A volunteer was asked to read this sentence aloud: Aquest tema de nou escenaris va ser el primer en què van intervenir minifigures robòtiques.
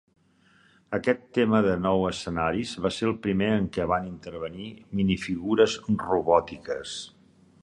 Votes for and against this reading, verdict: 3, 0, accepted